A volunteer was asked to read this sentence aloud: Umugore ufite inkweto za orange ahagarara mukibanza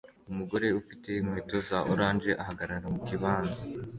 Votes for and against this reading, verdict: 2, 0, accepted